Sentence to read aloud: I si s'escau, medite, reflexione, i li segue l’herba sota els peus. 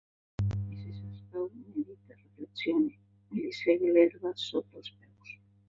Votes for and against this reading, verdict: 0, 3, rejected